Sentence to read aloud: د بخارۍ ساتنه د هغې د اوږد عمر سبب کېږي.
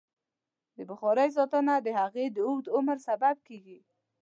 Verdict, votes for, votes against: accepted, 3, 0